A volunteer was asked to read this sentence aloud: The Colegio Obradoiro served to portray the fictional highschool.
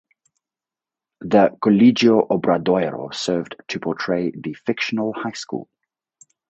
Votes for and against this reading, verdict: 2, 2, rejected